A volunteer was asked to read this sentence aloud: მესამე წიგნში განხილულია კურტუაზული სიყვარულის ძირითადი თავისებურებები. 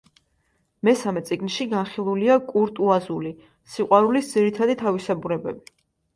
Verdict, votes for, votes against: accepted, 2, 0